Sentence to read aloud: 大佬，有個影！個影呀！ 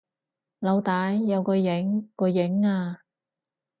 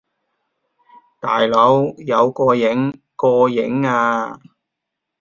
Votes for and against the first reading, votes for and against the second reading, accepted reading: 2, 4, 2, 0, second